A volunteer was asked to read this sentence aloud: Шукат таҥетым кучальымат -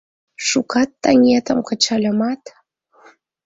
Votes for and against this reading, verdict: 1, 2, rejected